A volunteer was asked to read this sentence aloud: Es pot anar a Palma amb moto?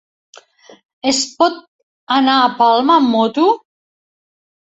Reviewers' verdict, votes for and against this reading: accepted, 3, 0